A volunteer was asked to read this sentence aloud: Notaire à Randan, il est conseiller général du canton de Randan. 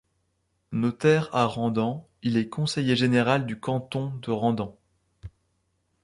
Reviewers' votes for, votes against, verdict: 2, 0, accepted